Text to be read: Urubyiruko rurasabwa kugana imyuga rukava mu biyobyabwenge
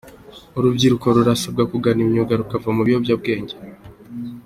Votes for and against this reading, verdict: 3, 0, accepted